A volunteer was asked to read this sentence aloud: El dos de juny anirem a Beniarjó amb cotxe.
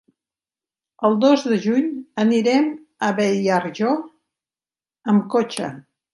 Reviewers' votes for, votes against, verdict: 2, 1, accepted